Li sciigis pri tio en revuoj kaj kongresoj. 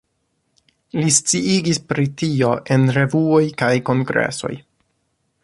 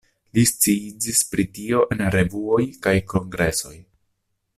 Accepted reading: first